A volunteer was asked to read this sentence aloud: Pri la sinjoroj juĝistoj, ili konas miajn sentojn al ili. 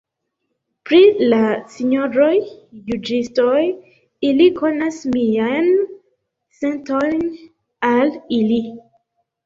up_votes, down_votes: 1, 2